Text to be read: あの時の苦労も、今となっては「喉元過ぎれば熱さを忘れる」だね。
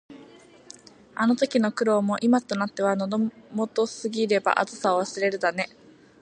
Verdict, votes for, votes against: accepted, 2, 0